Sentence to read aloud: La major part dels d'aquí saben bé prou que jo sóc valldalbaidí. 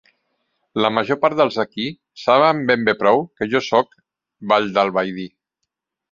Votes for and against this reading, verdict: 0, 2, rejected